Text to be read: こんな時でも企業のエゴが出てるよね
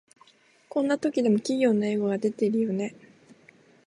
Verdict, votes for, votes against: accepted, 2, 1